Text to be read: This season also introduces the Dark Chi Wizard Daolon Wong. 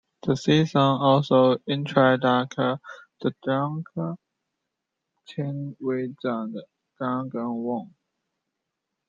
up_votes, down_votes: 2, 1